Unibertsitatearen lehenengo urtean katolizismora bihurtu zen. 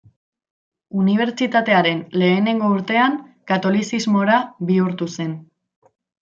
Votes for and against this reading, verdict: 2, 0, accepted